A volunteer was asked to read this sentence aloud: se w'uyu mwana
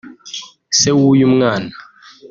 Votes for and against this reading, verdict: 2, 1, accepted